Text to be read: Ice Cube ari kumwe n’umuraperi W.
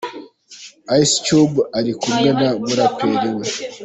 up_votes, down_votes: 2, 1